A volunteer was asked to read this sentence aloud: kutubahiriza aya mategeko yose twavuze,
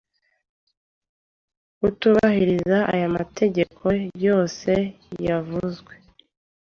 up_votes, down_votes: 1, 2